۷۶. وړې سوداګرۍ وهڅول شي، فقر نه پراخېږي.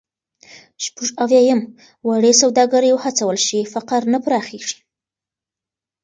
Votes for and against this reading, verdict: 0, 2, rejected